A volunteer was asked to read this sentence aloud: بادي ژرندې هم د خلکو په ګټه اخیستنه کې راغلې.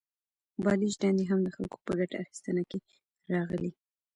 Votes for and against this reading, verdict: 1, 2, rejected